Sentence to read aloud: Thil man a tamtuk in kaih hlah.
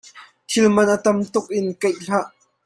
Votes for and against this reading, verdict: 2, 0, accepted